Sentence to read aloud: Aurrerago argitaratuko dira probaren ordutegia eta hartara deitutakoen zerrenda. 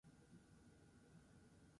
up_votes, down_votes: 0, 4